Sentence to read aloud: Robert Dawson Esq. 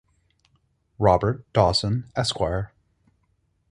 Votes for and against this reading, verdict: 4, 0, accepted